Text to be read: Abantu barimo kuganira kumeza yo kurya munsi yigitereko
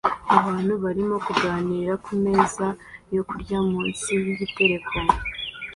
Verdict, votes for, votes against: accepted, 2, 0